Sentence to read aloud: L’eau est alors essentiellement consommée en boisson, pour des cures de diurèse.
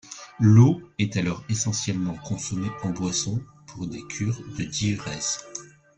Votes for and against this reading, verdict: 2, 0, accepted